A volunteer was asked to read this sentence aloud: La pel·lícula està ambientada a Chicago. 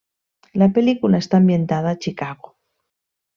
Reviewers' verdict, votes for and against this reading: accepted, 3, 0